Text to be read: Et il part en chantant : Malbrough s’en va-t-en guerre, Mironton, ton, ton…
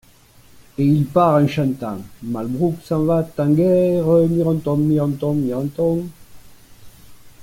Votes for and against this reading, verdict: 0, 2, rejected